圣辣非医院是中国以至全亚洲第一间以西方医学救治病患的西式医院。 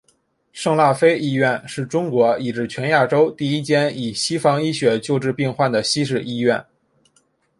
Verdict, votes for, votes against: accepted, 3, 0